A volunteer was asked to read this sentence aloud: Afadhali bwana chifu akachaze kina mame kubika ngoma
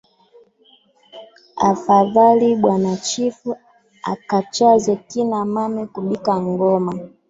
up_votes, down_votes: 3, 0